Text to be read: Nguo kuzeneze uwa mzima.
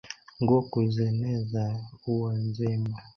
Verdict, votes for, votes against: rejected, 0, 2